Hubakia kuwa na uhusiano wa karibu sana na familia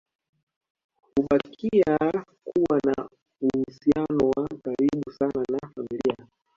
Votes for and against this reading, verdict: 0, 2, rejected